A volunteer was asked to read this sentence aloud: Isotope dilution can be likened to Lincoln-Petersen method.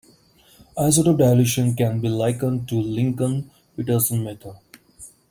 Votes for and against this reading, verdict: 2, 1, accepted